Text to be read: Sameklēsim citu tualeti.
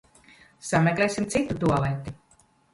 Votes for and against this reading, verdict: 0, 2, rejected